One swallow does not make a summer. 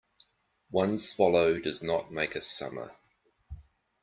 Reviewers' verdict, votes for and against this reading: accepted, 2, 0